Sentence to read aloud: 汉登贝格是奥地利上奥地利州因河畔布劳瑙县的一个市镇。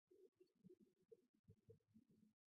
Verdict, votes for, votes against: rejected, 0, 2